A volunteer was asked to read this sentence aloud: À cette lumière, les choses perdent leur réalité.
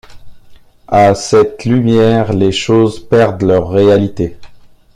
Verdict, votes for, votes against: accepted, 2, 0